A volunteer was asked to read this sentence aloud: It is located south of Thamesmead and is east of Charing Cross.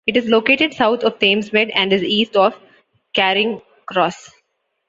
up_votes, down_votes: 2, 1